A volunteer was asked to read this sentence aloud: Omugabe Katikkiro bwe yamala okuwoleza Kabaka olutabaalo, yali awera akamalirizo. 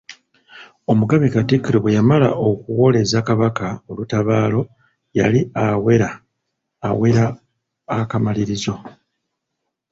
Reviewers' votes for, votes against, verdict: 1, 2, rejected